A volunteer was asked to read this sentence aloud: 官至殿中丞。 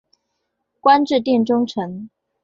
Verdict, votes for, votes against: rejected, 0, 2